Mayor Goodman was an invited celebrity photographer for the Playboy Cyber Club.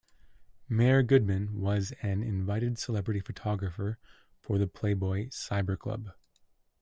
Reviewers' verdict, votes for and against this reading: accepted, 2, 0